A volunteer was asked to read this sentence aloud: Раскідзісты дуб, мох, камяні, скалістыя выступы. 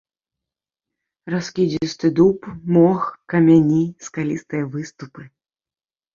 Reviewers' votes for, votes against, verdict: 2, 0, accepted